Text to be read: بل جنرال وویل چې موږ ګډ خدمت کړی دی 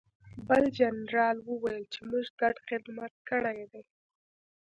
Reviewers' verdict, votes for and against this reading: accepted, 2, 0